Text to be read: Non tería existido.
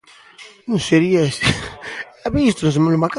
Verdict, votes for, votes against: rejected, 0, 2